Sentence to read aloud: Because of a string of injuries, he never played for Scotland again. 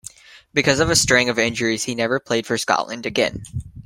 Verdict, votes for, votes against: accepted, 2, 1